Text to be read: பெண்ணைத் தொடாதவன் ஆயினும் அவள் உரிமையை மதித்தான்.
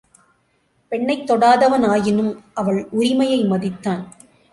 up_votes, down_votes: 3, 0